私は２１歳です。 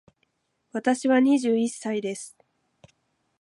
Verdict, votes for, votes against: rejected, 0, 2